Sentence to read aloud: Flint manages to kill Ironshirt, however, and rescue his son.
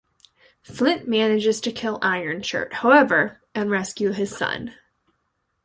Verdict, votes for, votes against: accepted, 2, 0